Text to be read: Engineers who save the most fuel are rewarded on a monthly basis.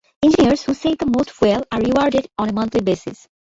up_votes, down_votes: 2, 1